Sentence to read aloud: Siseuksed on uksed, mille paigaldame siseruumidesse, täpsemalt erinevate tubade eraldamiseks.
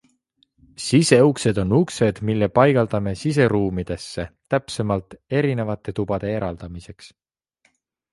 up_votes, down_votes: 2, 0